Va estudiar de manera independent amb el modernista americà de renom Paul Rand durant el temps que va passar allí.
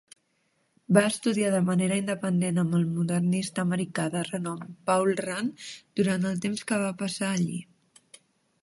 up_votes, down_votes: 3, 0